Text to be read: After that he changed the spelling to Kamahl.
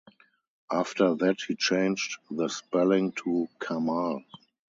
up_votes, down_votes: 2, 0